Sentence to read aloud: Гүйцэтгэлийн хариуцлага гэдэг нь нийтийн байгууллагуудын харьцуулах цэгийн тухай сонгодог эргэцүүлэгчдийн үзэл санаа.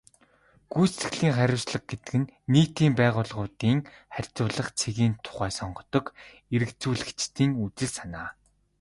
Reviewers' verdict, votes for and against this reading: accepted, 2, 0